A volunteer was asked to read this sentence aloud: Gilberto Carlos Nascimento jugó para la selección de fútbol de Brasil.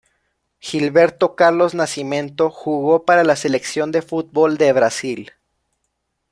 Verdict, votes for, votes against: rejected, 0, 2